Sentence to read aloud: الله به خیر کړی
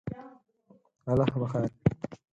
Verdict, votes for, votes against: accepted, 4, 0